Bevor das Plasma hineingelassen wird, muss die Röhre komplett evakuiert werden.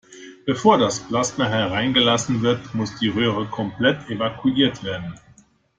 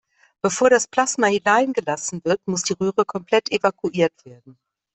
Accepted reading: second